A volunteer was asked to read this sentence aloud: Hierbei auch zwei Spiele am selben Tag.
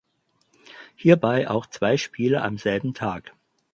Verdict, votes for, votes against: accepted, 4, 0